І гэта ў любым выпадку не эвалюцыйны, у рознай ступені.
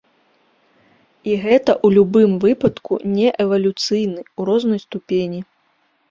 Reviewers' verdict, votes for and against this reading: accepted, 2, 0